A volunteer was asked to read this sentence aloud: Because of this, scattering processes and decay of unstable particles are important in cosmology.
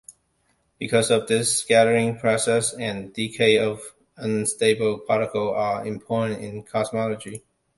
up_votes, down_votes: 2, 0